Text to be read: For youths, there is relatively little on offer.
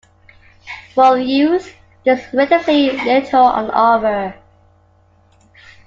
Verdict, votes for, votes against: accepted, 2, 0